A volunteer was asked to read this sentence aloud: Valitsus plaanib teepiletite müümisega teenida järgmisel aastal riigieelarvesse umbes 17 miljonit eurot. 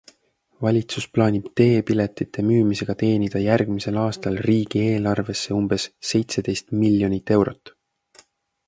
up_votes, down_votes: 0, 2